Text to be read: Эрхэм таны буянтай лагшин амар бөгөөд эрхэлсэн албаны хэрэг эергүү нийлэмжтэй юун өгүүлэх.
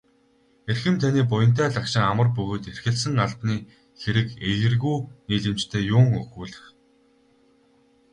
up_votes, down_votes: 2, 2